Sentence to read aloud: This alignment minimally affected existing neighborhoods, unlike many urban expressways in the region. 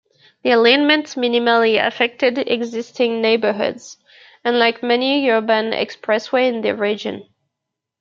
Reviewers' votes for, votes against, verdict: 1, 2, rejected